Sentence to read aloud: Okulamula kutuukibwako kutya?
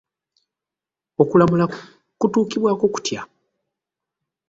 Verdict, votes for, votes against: rejected, 1, 2